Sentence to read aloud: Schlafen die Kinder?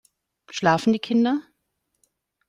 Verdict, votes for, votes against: accepted, 2, 0